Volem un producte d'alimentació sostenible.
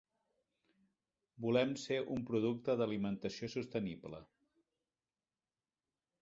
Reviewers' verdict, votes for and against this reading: rejected, 0, 4